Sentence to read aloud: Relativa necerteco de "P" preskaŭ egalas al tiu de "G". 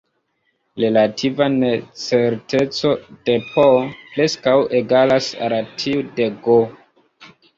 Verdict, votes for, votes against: accepted, 2, 0